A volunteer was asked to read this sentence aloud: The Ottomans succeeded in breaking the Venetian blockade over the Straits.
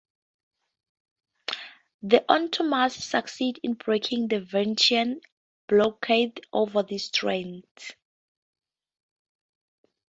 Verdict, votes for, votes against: rejected, 0, 2